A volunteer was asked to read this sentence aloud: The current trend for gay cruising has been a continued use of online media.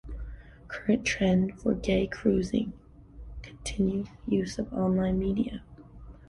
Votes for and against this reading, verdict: 0, 2, rejected